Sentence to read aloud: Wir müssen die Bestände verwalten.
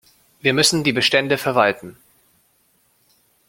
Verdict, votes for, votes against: rejected, 0, 2